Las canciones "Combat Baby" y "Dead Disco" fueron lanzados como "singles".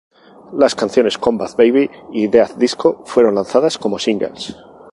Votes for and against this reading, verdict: 2, 0, accepted